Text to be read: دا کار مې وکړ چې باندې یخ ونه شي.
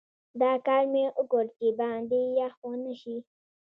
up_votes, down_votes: 2, 0